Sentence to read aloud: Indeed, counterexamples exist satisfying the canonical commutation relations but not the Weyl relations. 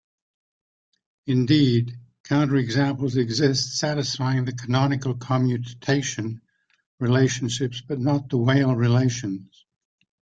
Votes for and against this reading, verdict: 1, 2, rejected